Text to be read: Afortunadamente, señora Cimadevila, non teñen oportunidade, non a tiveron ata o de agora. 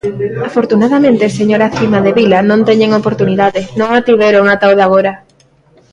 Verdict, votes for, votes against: rejected, 0, 2